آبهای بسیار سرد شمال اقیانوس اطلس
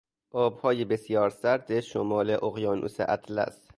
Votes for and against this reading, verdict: 2, 0, accepted